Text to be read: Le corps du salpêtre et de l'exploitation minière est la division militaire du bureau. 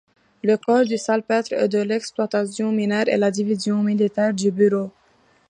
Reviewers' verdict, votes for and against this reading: accepted, 2, 0